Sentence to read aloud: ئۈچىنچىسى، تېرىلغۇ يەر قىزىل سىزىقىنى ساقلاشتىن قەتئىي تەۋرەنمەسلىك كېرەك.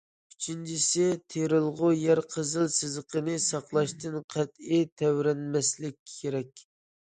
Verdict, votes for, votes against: accepted, 2, 0